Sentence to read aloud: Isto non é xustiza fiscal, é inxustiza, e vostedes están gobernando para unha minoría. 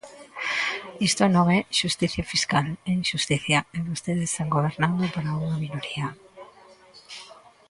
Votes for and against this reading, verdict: 0, 2, rejected